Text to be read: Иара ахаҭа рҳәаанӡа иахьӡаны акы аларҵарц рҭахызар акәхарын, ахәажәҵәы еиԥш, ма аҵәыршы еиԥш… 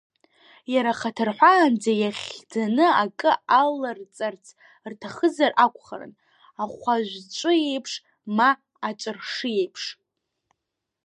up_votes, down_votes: 0, 2